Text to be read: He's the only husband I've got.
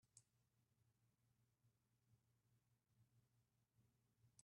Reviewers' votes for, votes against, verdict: 0, 2, rejected